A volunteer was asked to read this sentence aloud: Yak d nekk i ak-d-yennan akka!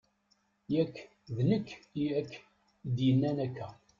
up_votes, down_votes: 0, 2